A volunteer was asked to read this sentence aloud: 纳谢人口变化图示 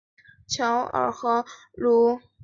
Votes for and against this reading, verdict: 0, 3, rejected